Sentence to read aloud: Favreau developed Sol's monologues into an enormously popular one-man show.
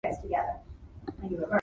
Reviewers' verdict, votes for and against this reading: rejected, 0, 2